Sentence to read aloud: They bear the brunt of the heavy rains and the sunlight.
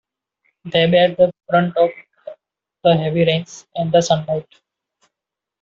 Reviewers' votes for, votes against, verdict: 1, 2, rejected